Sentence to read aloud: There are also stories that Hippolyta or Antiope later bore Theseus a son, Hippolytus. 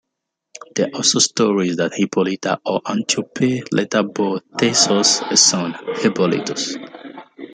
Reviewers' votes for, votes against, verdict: 0, 2, rejected